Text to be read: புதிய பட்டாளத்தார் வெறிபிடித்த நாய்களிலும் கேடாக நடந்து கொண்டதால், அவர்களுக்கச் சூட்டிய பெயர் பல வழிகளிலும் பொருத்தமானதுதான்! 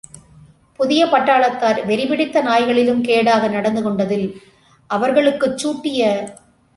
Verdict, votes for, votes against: rejected, 0, 2